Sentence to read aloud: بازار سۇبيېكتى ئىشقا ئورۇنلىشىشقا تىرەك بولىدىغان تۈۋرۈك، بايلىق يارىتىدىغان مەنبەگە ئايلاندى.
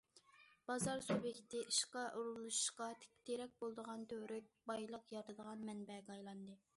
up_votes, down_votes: 1, 2